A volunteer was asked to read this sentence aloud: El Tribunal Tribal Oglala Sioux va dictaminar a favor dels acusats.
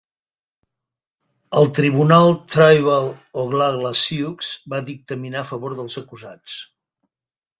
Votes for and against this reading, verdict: 1, 2, rejected